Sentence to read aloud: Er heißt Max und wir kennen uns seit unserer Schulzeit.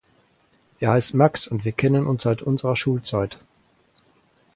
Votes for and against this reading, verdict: 4, 0, accepted